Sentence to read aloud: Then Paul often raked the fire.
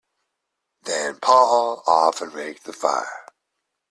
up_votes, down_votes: 2, 0